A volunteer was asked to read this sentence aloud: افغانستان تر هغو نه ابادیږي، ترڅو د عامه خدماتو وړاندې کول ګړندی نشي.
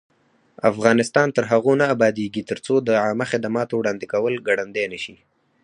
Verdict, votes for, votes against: rejected, 0, 4